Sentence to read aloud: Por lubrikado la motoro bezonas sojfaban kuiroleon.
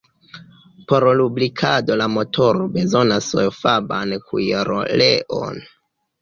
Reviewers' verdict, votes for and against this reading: accepted, 2, 0